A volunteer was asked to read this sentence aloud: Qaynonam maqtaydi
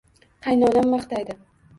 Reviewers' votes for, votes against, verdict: 2, 0, accepted